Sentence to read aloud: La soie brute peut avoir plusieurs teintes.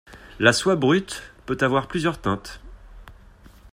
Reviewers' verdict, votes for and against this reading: accepted, 2, 1